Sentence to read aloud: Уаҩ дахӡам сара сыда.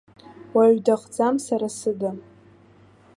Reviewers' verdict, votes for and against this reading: accepted, 2, 1